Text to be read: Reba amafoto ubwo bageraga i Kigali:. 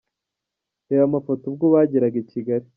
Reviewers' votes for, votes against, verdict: 2, 0, accepted